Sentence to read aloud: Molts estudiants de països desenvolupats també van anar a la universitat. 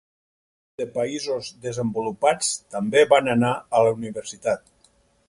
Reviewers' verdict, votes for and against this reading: rejected, 0, 4